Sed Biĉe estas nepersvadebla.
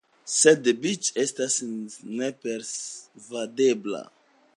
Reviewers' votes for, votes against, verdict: 2, 0, accepted